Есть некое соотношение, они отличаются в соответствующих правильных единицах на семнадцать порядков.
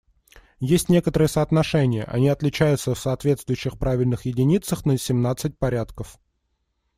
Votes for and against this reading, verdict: 1, 2, rejected